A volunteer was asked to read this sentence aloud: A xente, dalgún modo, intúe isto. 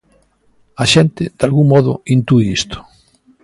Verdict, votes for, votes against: accepted, 2, 0